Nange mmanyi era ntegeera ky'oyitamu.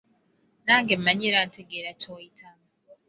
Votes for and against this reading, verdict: 2, 0, accepted